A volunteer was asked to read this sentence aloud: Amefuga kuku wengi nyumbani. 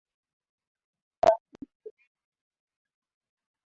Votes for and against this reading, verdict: 0, 2, rejected